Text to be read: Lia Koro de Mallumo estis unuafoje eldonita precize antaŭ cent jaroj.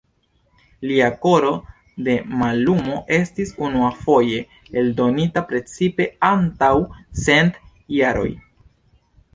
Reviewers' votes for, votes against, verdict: 2, 1, accepted